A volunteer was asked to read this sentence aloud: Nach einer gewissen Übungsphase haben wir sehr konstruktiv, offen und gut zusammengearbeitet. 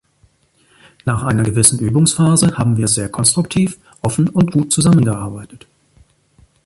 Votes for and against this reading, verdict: 2, 0, accepted